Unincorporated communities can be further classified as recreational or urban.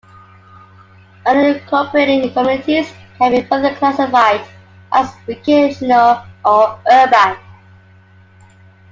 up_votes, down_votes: 2, 1